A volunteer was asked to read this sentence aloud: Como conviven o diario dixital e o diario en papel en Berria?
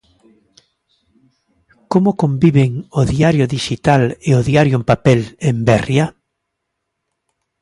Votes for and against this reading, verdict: 2, 0, accepted